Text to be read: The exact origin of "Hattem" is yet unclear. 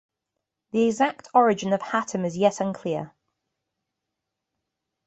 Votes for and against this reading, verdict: 3, 0, accepted